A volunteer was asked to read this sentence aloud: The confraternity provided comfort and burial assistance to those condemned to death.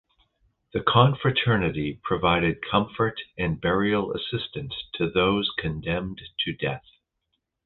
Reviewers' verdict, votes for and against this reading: accepted, 2, 0